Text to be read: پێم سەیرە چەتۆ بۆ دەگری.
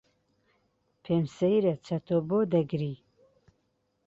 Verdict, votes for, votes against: accepted, 2, 0